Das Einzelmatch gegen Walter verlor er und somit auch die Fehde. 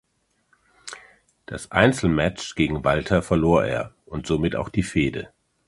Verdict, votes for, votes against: accepted, 2, 0